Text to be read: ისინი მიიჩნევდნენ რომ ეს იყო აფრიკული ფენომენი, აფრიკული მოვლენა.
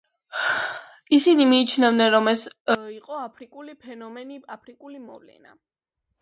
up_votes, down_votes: 1, 2